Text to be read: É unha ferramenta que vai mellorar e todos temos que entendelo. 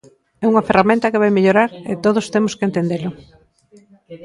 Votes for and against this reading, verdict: 2, 0, accepted